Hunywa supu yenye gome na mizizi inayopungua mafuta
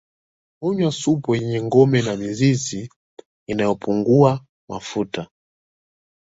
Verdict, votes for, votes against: rejected, 1, 2